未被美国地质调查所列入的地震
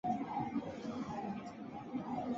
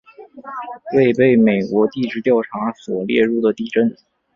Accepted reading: second